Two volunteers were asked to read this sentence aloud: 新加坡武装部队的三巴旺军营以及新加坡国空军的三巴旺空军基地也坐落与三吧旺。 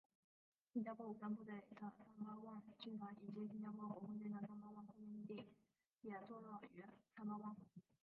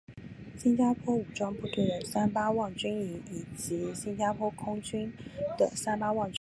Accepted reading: second